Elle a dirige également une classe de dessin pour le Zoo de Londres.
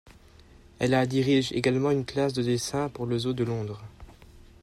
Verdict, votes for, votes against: accepted, 2, 0